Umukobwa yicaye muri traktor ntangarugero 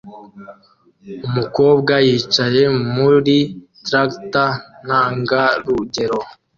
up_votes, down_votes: 2, 1